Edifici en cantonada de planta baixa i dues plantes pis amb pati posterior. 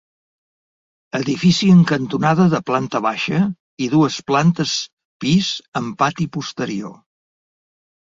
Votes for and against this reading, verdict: 2, 0, accepted